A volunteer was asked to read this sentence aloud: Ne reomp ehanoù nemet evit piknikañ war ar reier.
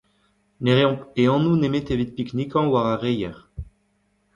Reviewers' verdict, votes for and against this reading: rejected, 1, 2